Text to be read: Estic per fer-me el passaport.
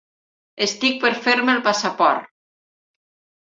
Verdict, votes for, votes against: accepted, 3, 0